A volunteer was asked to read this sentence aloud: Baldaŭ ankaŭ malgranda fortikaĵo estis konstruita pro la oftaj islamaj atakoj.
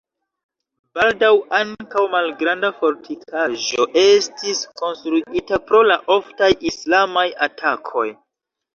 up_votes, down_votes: 0, 2